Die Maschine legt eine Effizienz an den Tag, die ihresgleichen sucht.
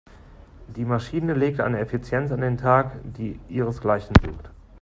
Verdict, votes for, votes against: accepted, 2, 0